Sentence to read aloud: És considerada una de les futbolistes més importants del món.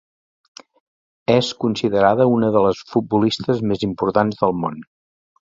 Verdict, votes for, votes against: accepted, 2, 0